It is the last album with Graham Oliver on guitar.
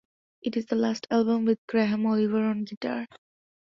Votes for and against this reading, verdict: 2, 0, accepted